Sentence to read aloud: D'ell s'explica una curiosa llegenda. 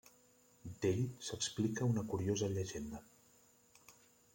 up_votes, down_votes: 1, 2